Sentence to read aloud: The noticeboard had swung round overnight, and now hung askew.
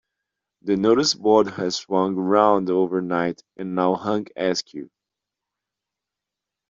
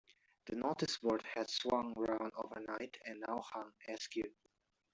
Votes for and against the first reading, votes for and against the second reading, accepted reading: 0, 2, 2, 0, second